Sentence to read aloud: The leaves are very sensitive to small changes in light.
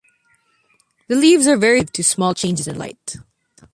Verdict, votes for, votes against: rejected, 0, 2